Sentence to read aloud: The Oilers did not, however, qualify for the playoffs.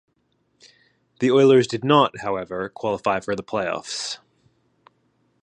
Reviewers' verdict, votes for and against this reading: accepted, 3, 0